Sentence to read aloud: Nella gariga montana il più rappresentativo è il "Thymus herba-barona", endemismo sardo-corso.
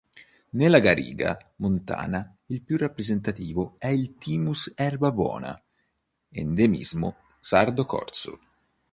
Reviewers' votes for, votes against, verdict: 0, 2, rejected